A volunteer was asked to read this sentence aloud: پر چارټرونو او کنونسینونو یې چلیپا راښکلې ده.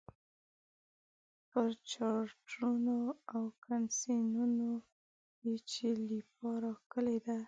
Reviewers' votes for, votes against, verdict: 1, 2, rejected